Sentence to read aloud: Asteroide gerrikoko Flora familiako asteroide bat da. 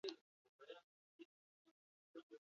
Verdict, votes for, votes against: rejected, 0, 4